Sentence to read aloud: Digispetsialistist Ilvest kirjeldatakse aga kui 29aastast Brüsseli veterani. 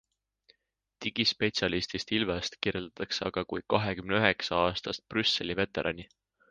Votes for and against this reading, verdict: 0, 2, rejected